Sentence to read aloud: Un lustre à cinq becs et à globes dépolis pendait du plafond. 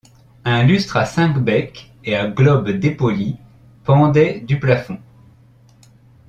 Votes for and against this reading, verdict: 2, 0, accepted